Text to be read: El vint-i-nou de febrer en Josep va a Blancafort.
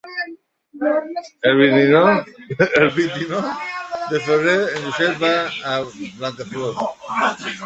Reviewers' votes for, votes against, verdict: 0, 2, rejected